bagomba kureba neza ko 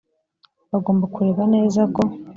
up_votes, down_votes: 2, 0